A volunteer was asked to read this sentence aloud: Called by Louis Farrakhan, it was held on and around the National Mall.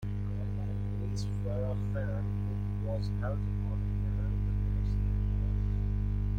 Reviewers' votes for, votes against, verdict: 0, 2, rejected